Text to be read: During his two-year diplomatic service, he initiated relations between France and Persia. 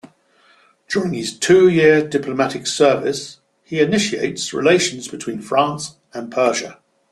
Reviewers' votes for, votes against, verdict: 0, 2, rejected